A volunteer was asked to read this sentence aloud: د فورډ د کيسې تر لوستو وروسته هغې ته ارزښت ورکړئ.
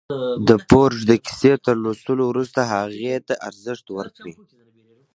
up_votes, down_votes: 2, 1